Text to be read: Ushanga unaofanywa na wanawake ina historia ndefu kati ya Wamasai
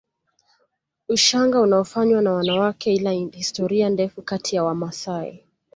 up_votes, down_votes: 2, 0